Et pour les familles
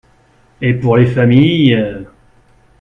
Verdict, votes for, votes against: rejected, 1, 2